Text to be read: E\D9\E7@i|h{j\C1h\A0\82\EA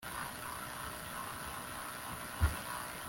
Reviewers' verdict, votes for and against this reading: rejected, 0, 2